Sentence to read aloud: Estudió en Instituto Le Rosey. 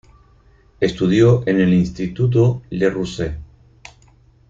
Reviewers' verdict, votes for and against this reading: rejected, 2, 4